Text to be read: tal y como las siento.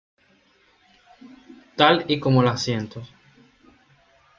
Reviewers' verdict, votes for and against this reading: accepted, 2, 0